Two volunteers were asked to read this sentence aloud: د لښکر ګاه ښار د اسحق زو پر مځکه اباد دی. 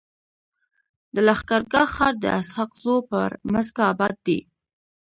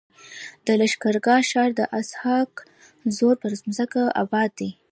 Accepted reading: first